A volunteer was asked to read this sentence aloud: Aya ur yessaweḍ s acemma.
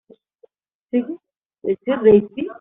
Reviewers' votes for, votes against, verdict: 0, 2, rejected